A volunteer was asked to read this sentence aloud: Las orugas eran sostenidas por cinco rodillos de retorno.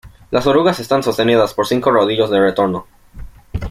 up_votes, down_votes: 1, 2